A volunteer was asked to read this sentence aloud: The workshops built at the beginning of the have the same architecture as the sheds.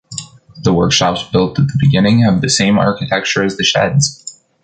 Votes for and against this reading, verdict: 1, 2, rejected